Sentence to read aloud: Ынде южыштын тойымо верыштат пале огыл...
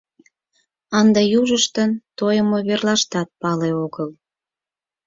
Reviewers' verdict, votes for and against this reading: rejected, 0, 4